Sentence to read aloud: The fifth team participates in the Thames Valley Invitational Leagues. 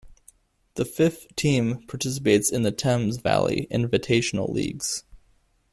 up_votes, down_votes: 2, 0